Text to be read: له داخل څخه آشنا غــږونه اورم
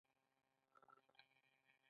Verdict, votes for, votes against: rejected, 0, 2